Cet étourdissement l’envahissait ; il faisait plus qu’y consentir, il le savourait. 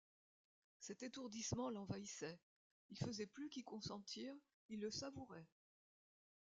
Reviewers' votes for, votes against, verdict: 0, 2, rejected